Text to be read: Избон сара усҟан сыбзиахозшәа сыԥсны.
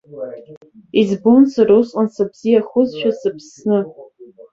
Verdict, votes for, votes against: accepted, 2, 0